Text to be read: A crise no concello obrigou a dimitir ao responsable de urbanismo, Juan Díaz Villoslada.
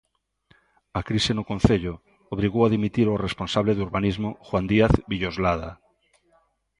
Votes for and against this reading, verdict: 2, 0, accepted